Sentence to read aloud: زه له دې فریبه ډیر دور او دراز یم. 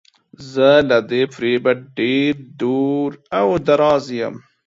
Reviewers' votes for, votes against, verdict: 2, 0, accepted